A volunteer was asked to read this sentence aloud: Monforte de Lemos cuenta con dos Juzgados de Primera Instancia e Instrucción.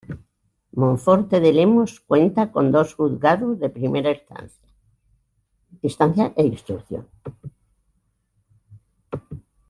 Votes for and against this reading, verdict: 1, 2, rejected